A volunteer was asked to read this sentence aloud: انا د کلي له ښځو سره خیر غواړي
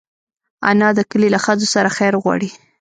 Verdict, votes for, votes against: rejected, 1, 2